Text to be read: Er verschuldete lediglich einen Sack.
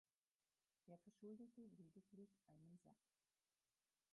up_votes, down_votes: 0, 4